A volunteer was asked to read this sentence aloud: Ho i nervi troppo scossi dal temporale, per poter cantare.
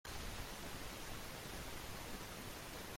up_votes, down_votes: 1, 2